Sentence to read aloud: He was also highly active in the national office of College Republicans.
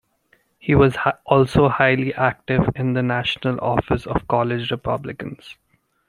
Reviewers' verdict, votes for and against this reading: rejected, 0, 2